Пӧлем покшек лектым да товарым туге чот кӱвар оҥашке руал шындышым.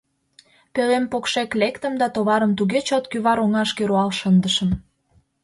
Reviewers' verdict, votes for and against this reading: accepted, 2, 0